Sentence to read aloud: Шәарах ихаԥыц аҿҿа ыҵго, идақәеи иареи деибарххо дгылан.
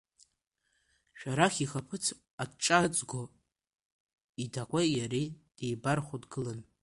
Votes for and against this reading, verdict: 0, 2, rejected